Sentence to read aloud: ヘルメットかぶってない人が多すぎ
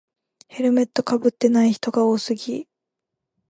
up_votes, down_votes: 2, 0